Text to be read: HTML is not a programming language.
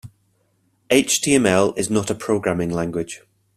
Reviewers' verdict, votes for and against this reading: accepted, 2, 0